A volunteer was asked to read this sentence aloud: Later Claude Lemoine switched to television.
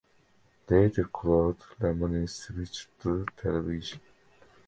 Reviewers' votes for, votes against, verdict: 2, 0, accepted